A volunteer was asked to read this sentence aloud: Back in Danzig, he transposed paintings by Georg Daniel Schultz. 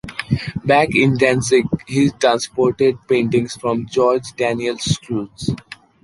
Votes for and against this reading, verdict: 1, 2, rejected